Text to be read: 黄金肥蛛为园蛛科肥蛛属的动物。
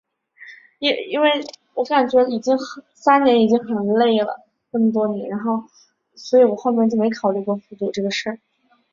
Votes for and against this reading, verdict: 0, 3, rejected